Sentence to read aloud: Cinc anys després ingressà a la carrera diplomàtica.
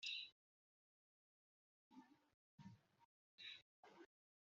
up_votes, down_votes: 0, 2